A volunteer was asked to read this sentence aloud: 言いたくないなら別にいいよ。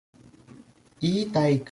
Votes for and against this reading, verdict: 0, 2, rejected